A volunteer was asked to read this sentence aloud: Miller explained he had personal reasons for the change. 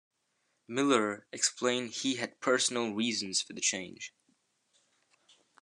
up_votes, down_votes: 2, 0